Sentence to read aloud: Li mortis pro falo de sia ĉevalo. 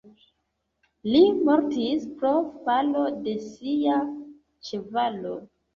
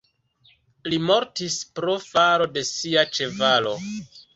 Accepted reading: first